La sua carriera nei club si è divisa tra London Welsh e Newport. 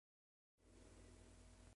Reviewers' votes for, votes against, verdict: 0, 2, rejected